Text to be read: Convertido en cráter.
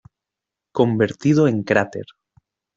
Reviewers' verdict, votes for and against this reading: accepted, 2, 0